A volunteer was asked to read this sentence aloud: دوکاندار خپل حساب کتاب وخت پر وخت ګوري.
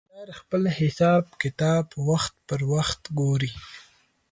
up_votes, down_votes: 4, 6